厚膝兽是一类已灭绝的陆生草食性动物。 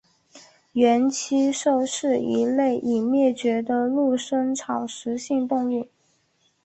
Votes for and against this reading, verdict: 3, 1, accepted